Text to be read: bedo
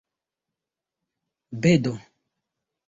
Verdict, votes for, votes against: accepted, 2, 0